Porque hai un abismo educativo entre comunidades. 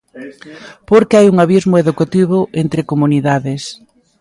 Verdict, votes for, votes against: rejected, 0, 2